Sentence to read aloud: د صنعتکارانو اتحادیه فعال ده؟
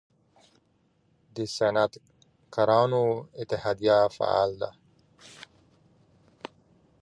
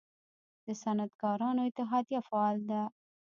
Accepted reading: first